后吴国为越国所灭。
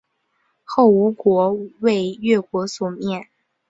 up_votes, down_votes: 6, 0